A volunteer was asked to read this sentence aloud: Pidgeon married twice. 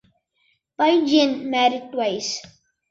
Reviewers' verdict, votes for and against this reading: rejected, 0, 2